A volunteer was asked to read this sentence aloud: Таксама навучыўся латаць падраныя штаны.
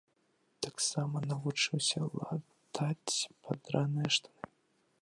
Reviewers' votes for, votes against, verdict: 0, 2, rejected